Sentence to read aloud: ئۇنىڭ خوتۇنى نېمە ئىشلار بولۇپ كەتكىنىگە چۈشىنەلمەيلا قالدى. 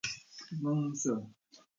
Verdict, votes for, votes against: rejected, 0, 2